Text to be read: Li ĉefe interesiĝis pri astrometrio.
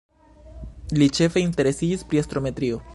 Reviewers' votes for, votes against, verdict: 2, 1, accepted